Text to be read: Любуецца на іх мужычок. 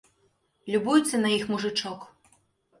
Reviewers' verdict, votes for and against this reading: accepted, 2, 0